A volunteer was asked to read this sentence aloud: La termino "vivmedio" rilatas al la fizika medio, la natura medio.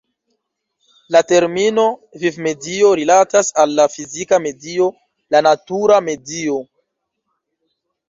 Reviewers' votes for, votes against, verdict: 1, 2, rejected